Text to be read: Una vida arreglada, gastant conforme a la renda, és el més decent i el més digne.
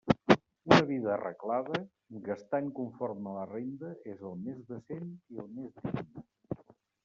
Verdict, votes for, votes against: rejected, 1, 2